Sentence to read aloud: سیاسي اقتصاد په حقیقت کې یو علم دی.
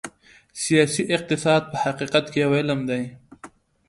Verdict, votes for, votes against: accepted, 2, 0